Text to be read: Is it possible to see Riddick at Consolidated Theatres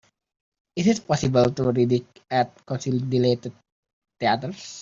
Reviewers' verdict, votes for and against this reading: rejected, 0, 3